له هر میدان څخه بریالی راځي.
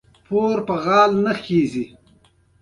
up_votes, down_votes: 1, 2